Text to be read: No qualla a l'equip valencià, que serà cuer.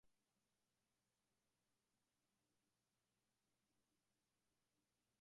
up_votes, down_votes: 1, 2